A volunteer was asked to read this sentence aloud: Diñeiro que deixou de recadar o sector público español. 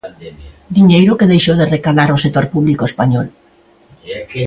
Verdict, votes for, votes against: accepted, 2, 0